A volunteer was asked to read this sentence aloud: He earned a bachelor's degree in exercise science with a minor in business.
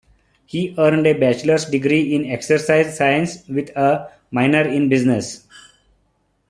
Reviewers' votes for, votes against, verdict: 2, 0, accepted